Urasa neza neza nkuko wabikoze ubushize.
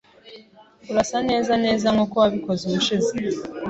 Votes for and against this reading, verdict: 3, 0, accepted